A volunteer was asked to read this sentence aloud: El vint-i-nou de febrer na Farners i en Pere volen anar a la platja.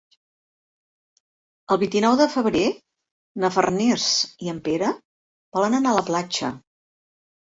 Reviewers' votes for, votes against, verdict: 3, 0, accepted